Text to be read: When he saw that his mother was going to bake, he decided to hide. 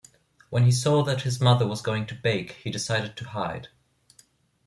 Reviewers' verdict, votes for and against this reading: accepted, 2, 0